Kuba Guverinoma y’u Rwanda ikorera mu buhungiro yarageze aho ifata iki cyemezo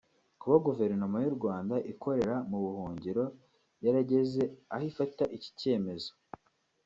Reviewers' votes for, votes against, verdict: 2, 0, accepted